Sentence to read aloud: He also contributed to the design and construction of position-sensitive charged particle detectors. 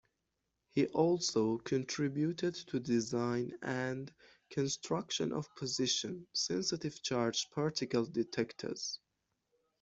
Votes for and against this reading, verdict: 1, 2, rejected